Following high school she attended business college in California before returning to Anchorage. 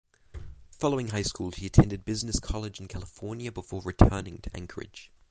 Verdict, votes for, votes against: rejected, 0, 6